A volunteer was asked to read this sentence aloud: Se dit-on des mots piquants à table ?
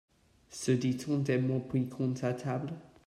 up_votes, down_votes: 1, 2